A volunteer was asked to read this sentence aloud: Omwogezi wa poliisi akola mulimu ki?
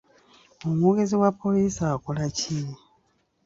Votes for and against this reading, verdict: 1, 2, rejected